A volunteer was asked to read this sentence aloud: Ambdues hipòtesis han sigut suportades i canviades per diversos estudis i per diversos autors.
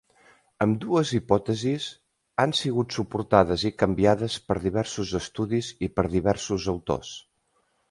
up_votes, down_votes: 3, 0